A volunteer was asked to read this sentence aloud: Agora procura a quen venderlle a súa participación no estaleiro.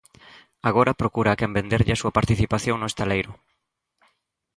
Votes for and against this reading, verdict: 2, 0, accepted